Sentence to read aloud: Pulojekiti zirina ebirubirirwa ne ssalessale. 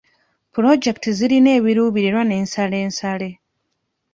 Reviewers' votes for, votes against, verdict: 2, 1, accepted